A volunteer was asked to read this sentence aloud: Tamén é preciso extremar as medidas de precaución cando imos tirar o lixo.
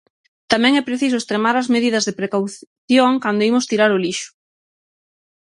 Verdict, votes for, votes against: rejected, 3, 6